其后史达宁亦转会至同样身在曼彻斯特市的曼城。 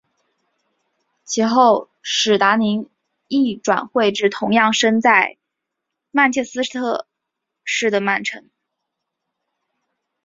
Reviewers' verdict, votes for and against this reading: rejected, 0, 2